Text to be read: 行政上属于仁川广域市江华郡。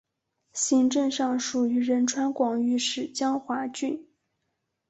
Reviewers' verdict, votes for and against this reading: rejected, 2, 2